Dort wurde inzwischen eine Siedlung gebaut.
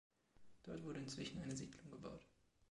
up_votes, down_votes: 2, 1